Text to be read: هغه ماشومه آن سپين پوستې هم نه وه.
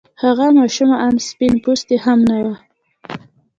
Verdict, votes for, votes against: accepted, 2, 0